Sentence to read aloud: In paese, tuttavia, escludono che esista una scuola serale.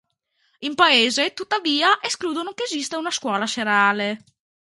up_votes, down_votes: 2, 0